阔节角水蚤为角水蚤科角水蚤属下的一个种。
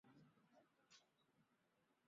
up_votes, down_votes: 0, 2